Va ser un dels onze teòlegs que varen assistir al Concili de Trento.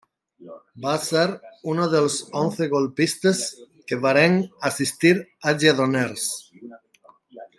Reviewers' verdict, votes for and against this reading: rejected, 0, 2